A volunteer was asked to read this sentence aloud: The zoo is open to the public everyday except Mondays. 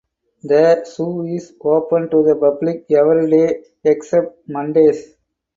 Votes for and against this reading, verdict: 4, 2, accepted